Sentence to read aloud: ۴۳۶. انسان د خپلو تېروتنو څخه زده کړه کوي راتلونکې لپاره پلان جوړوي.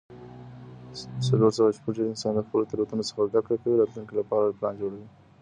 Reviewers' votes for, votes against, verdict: 0, 2, rejected